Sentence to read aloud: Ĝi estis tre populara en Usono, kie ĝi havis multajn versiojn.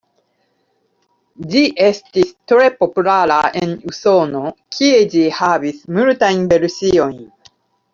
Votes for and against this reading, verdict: 1, 2, rejected